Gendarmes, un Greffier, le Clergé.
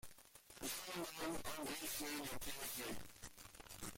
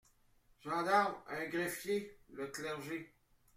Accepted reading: second